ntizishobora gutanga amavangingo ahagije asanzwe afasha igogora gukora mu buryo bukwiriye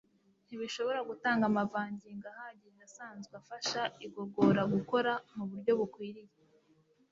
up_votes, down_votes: 2, 0